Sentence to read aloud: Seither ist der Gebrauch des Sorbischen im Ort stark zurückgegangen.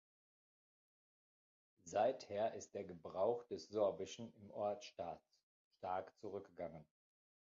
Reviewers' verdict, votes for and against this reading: rejected, 0, 2